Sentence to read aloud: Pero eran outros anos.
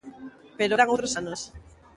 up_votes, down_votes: 0, 2